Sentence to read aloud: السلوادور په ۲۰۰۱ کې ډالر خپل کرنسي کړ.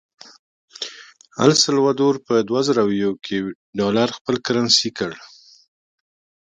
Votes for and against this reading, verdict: 0, 2, rejected